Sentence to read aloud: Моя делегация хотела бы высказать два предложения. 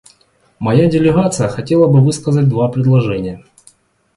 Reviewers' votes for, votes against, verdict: 2, 0, accepted